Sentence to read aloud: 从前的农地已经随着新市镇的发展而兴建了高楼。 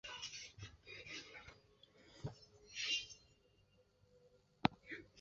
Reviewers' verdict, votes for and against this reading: rejected, 0, 2